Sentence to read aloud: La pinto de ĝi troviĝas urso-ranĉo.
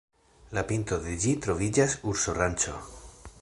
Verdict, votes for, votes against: accepted, 2, 0